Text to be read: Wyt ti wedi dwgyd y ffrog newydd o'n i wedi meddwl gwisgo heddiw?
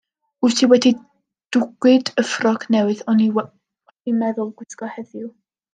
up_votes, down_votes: 0, 2